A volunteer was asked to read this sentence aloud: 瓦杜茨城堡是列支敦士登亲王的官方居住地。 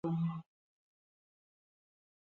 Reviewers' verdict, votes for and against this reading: rejected, 0, 4